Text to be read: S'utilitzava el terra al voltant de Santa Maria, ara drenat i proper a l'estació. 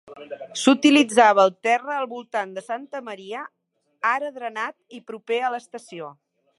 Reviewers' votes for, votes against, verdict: 0, 2, rejected